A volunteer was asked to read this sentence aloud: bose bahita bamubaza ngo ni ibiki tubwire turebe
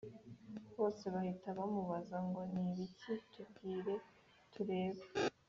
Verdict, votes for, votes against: accepted, 2, 0